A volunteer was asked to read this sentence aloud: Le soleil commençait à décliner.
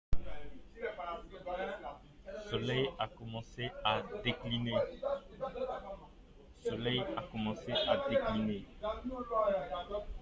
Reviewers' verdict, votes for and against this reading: rejected, 0, 2